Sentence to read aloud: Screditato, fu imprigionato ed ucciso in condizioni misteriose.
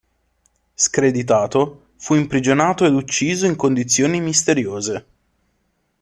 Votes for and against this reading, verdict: 2, 0, accepted